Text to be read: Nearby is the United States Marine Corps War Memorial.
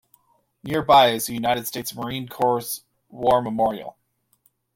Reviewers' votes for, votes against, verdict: 1, 2, rejected